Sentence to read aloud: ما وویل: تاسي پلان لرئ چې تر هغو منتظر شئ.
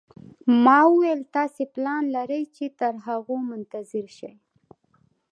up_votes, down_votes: 1, 2